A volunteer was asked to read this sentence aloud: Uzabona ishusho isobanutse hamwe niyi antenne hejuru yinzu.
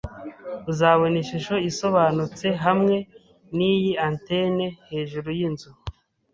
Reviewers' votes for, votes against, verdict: 2, 0, accepted